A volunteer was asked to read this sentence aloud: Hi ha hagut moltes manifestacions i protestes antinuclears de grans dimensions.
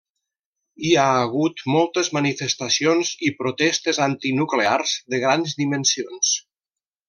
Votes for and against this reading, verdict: 3, 0, accepted